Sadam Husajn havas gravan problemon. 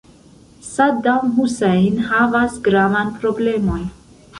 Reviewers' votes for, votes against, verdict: 2, 1, accepted